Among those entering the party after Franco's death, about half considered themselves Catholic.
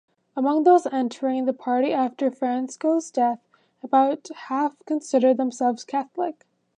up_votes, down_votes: 1, 2